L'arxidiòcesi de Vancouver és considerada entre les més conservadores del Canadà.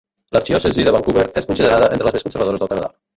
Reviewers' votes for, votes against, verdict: 0, 3, rejected